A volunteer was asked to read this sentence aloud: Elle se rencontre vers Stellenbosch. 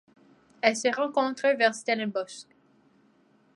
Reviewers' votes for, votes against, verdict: 2, 1, accepted